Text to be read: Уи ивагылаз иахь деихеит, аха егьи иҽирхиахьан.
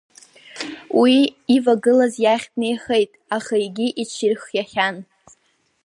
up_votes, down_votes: 8, 2